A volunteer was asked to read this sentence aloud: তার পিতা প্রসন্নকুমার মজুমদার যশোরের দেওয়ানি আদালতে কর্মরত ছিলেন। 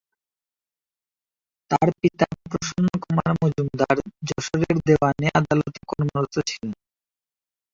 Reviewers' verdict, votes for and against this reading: rejected, 0, 2